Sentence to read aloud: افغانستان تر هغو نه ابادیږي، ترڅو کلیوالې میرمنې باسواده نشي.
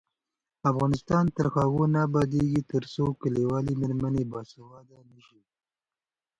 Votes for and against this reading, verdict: 2, 0, accepted